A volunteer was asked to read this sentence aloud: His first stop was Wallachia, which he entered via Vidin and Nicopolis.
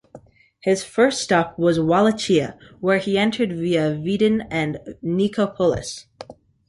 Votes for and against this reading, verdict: 2, 1, accepted